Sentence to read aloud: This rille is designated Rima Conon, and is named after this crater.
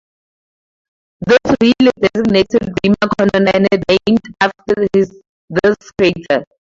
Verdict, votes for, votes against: rejected, 0, 2